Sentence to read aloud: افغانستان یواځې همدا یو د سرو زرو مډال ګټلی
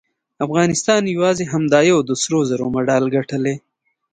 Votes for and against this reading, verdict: 2, 0, accepted